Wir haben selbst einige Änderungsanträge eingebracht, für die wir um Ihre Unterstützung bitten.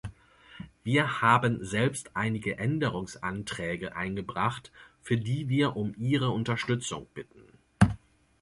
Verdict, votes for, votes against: accepted, 2, 0